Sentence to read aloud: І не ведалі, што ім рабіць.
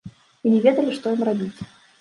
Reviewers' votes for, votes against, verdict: 0, 2, rejected